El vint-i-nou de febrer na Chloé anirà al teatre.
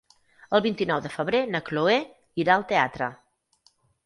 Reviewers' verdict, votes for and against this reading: rejected, 0, 4